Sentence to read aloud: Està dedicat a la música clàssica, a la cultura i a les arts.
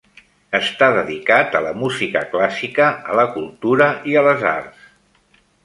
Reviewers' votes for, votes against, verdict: 3, 0, accepted